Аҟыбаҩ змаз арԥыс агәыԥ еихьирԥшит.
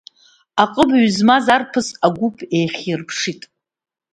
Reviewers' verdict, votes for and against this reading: accepted, 2, 0